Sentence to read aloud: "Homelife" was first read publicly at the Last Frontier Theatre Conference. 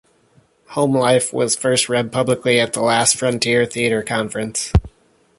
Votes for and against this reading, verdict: 2, 0, accepted